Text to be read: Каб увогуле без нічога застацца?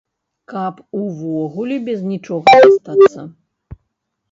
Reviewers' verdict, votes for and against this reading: rejected, 0, 2